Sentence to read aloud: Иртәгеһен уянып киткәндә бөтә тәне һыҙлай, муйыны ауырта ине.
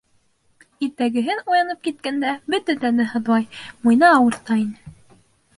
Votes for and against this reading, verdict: 2, 0, accepted